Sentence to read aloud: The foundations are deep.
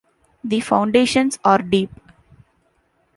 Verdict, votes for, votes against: accepted, 2, 0